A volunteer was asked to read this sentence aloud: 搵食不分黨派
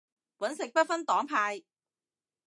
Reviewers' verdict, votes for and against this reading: accepted, 2, 0